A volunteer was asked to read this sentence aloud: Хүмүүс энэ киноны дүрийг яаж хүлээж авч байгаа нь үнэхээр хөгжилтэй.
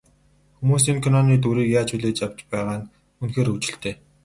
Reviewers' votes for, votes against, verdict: 2, 2, rejected